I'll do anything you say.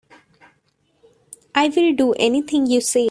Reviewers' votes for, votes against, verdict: 0, 3, rejected